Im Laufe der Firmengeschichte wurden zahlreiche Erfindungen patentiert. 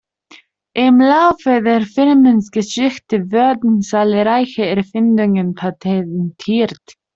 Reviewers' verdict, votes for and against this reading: rejected, 0, 2